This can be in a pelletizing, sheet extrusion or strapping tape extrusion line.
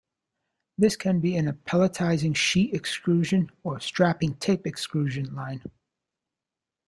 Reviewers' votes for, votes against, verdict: 2, 0, accepted